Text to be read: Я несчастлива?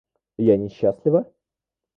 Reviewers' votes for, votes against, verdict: 1, 2, rejected